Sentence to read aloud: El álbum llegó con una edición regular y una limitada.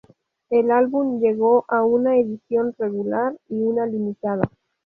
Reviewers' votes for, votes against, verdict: 0, 2, rejected